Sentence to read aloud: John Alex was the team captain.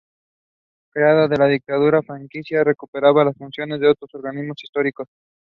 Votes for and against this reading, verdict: 0, 2, rejected